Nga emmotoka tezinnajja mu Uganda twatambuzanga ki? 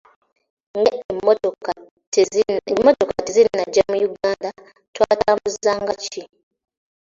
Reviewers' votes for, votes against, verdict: 0, 3, rejected